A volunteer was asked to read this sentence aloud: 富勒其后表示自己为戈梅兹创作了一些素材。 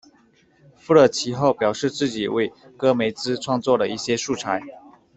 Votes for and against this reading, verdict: 2, 0, accepted